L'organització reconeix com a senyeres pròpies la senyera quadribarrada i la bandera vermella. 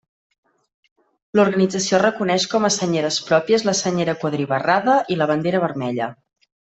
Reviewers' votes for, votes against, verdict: 2, 0, accepted